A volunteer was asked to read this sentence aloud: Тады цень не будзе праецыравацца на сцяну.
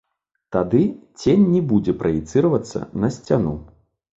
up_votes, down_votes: 1, 2